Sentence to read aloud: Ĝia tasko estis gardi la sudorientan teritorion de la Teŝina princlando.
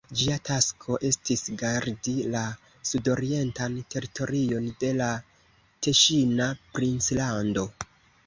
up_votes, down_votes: 2, 0